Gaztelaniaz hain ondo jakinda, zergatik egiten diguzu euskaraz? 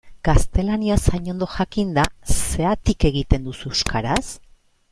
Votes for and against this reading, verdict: 1, 2, rejected